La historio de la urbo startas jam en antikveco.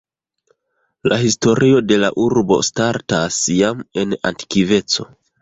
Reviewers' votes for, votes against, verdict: 2, 1, accepted